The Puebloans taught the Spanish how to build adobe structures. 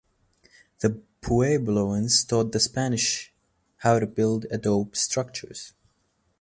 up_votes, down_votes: 2, 0